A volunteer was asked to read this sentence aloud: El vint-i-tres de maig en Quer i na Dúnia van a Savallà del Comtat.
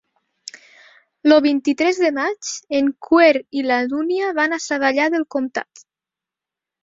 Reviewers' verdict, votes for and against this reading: rejected, 0, 2